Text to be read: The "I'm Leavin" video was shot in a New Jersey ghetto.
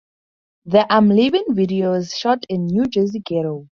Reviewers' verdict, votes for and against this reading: rejected, 2, 2